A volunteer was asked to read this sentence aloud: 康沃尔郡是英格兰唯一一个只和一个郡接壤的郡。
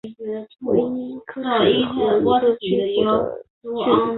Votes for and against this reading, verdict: 0, 2, rejected